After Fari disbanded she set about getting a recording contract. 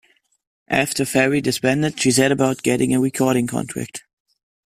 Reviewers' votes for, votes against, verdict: 2, 0, accepted